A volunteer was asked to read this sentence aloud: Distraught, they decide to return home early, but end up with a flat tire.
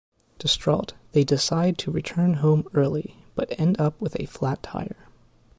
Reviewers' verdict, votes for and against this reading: accepted, 2, 0